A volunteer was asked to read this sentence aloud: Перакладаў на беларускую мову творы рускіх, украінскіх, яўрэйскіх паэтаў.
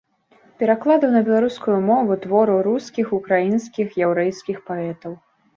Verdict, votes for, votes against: rejected, 0, 2